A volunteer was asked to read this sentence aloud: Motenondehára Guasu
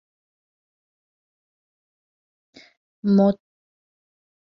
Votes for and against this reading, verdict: 0, 2, rejected